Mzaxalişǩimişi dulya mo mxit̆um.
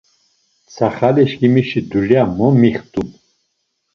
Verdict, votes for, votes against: rejected, 1, 2